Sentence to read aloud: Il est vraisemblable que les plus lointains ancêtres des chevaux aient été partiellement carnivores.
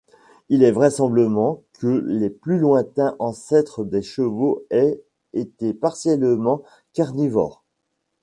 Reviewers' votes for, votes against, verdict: 1, 2, rejected